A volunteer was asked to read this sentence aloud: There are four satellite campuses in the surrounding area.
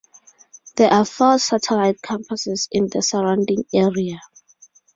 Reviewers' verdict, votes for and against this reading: accepted, 2, 0